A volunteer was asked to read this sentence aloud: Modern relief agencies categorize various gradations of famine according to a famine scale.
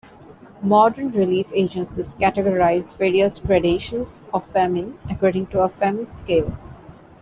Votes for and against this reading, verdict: 2, 0, accepted